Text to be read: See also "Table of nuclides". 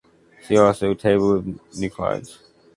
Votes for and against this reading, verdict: 0, 2, rejected